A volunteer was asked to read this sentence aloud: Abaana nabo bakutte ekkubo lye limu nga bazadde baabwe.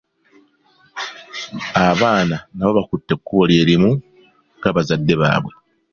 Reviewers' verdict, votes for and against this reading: accepted, 2, 0